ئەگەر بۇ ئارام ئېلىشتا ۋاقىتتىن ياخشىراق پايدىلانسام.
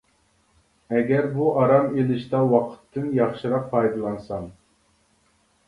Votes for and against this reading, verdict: 2, 0, accepted